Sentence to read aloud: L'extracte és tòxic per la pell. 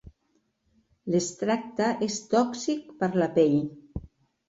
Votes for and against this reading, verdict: 4, 0, accepted